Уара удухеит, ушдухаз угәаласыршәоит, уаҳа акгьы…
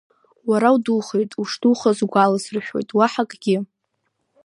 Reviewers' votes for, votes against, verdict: 2, 0, accepted